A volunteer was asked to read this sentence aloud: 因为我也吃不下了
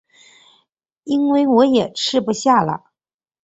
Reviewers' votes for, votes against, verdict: 3, 0, accepted